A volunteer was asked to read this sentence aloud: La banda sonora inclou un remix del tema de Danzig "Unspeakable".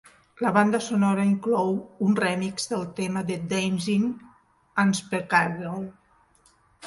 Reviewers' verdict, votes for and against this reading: rejected, 0, 2